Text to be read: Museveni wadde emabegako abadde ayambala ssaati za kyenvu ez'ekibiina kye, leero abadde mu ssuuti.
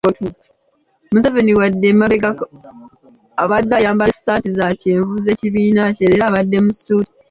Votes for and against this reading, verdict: 0, 2, rejected